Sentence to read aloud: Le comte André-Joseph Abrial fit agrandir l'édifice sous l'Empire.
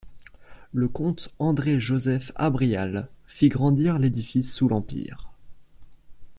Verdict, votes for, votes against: rejected, 0, 2